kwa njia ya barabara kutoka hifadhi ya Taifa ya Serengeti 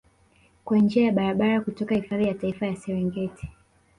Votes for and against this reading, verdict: 2, 0, accepted